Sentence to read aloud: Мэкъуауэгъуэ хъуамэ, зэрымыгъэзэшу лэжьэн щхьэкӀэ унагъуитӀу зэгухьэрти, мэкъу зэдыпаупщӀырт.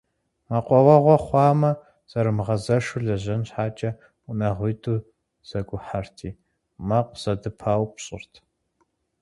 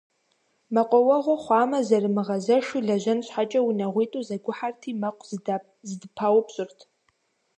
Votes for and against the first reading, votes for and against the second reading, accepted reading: 4, 0, 0, 2, first